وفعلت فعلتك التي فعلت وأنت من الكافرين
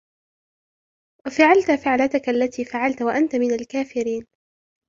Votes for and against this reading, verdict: 2, 0, accepted